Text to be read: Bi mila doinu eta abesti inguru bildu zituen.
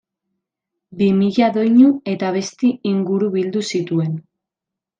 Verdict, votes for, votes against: accepted, 2, 0